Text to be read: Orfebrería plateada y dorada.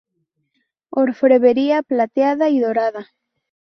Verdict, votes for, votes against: rejected, 0, 2